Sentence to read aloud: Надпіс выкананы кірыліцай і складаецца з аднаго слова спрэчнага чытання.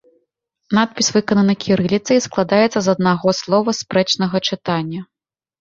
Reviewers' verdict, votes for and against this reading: accepted, 2, 1